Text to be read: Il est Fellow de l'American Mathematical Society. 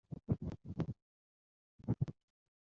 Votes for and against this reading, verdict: 1, 2, rejected